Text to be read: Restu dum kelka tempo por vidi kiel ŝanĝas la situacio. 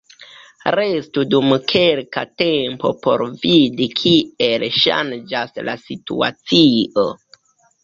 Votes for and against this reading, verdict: 2, 1, accepted